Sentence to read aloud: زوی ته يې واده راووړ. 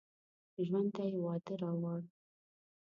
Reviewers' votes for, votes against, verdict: 0, 2, rejected